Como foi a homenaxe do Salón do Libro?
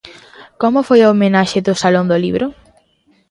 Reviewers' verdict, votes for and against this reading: accepted, 2, 0